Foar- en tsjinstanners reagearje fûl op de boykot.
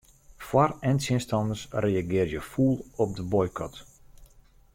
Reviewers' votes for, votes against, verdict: 0, 2, rejected